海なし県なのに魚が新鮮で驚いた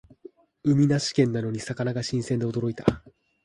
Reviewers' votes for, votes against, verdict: 2, 1, accepted